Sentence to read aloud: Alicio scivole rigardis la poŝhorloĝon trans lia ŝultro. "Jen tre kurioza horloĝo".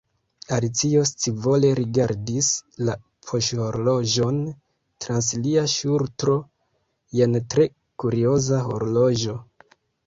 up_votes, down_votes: 1, 2